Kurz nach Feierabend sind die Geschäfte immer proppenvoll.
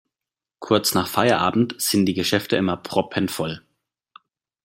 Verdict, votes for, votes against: accepted, 2, 0